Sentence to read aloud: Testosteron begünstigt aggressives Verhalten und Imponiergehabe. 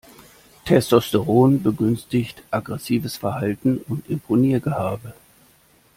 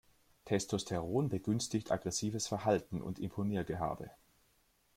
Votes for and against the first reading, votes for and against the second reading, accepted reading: 1, 2, 2, 0, second